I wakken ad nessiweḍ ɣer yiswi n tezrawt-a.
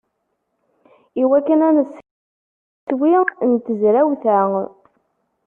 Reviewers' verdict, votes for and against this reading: rejected, 1, 2